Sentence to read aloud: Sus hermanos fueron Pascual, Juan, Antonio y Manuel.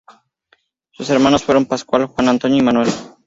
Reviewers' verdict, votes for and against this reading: accepted, 2, 0